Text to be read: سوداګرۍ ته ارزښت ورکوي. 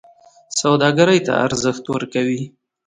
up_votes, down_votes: 2, 0